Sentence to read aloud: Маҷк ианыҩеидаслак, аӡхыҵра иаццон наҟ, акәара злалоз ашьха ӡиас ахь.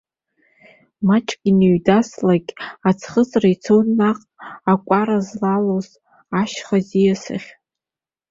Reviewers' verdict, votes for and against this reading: accepted, 2, 1